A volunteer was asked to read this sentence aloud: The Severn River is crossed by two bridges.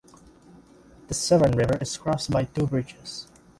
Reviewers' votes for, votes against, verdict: 2, 0, accepted